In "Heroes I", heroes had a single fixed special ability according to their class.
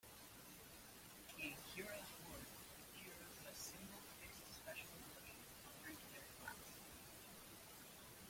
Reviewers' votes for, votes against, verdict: 0, 2, rejected